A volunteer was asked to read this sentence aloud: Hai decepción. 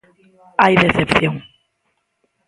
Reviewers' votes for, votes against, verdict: 0, 2, rejected